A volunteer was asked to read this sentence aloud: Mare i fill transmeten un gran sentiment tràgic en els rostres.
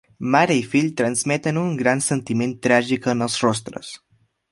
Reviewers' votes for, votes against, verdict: 3, 0, accepted